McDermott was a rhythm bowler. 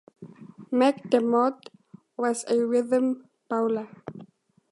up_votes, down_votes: 2, 0